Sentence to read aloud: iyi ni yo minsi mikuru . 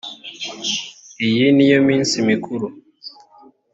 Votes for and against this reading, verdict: 2, 0, accepted